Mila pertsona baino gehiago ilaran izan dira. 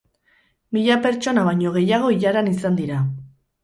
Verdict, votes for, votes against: accepted, 8, 0